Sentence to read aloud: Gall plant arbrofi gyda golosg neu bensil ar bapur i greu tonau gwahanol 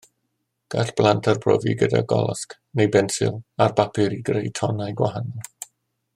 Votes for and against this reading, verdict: 0, 2, rejected